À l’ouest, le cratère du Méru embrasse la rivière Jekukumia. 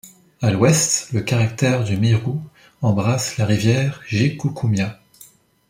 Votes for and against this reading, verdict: 0, 2, rejected